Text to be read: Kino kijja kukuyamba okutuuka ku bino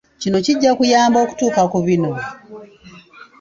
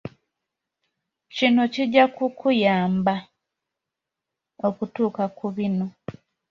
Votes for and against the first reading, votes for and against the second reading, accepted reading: 0, 2, 2, 0, second